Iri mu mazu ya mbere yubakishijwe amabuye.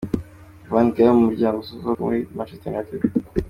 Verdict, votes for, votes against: rejected, 0, 2